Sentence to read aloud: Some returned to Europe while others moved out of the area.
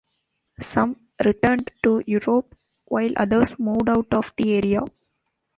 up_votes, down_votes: 2, 0